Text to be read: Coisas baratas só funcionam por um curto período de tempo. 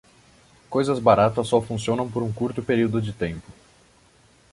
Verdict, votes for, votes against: accepted, 2, 0